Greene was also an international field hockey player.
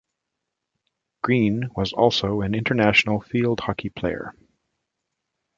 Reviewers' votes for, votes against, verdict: 2, 0, accepted